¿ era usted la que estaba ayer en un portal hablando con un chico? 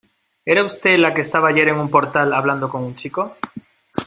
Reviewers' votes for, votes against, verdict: 2, 0, accepted